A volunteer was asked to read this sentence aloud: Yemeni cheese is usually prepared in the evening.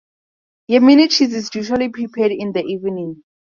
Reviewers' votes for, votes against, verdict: 4, 0, accepted